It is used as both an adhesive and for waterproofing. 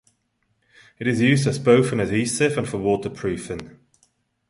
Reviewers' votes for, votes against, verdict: 2, 0, accepted